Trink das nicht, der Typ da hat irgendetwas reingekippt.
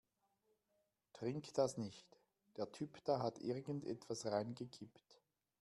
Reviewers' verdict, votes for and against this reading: accepted, 2, 1